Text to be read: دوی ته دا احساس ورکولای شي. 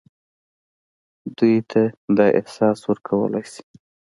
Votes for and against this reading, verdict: 2, 1, accepted